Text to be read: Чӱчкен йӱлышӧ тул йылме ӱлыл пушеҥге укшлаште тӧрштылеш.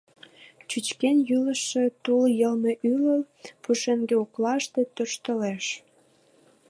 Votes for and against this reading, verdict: 3, 4, rejected